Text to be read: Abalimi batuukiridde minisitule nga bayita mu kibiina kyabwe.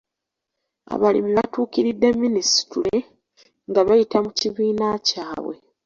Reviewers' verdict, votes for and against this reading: accepted, 2, 0